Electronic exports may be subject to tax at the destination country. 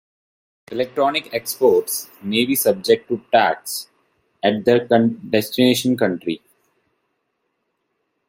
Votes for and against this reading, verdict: 1, 2, rejected